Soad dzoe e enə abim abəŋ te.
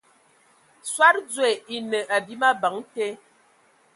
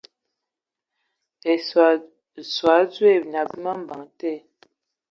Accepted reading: first